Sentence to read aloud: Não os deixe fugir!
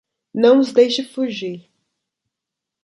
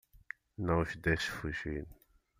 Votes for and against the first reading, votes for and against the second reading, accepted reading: 2, 0, 1, 2, first